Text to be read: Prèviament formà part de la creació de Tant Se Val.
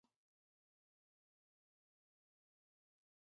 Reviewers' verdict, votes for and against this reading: rejected, 0, 2